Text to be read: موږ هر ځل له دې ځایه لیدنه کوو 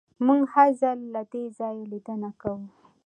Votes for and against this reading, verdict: 2, 0, accepted